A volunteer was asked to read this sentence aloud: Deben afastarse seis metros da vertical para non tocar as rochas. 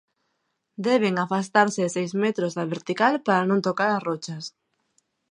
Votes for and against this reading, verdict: 2, 0, accepted